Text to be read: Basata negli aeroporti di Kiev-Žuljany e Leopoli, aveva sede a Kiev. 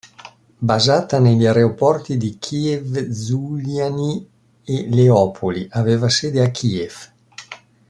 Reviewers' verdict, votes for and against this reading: accepted, 2, 0